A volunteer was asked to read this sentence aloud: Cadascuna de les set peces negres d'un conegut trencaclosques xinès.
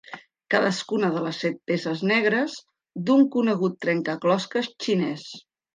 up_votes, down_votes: 2, 0